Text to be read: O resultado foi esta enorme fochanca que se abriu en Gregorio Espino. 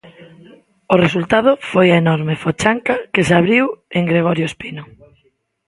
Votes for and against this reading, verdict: 0, 2, rejected